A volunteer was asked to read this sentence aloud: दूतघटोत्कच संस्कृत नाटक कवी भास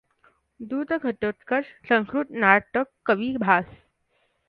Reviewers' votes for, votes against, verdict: 2, 0, accepted